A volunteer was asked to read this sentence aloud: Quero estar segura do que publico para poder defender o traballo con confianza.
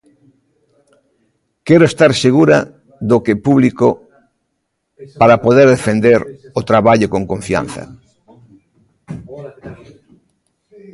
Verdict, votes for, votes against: rejected, 1, 3